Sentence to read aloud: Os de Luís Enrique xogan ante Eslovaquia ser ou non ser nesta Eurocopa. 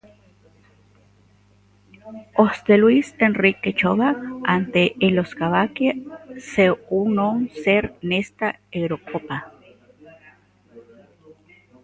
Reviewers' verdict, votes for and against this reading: rejected, 1, 2